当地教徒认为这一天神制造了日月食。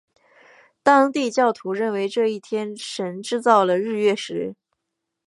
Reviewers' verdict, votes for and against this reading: accepted, 6, 0